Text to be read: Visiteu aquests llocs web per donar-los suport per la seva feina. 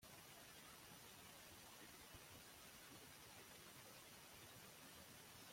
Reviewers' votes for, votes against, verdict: 0, 2, rejected